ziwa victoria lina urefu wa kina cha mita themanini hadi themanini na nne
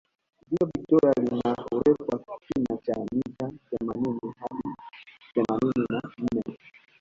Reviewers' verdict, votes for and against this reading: rejected, 0, 2